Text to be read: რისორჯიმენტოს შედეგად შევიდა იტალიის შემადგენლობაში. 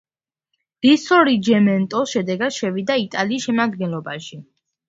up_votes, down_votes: 1, 2